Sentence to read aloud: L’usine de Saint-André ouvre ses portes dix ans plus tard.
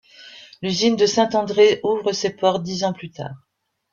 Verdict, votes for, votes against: accepted, 3, 0